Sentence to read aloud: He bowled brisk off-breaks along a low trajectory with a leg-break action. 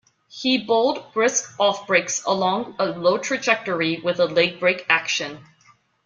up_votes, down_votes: 2, 1